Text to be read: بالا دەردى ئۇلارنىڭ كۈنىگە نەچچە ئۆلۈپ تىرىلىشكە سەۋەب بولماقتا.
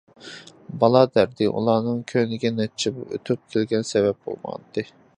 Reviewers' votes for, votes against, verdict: 0, 2, rejected